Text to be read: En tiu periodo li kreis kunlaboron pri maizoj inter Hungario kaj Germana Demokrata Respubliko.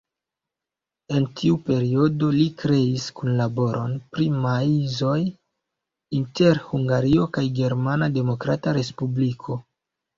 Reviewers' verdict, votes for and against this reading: rejected, 1, 2